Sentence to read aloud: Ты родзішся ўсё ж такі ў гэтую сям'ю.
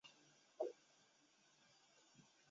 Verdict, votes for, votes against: rejected, 0, 2